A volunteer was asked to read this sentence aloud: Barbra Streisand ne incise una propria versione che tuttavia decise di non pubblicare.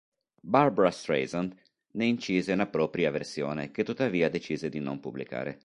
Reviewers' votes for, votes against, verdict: 2, 0, accepted